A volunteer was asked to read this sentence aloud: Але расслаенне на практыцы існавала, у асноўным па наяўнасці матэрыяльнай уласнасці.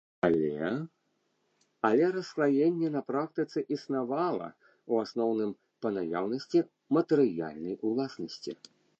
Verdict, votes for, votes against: rejected, 1, 2